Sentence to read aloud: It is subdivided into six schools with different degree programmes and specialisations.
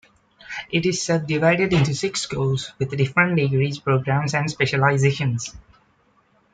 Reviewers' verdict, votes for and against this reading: accepted, 2, 1